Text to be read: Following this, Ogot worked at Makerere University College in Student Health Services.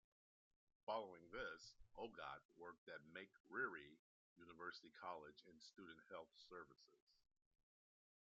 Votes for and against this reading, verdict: 2, 1, accepted